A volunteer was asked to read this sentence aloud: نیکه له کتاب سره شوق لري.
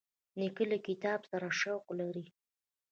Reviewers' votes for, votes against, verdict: 2, 0, accepted